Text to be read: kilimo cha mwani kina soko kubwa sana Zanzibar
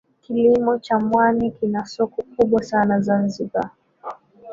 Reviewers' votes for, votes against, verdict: 0, 2, rejected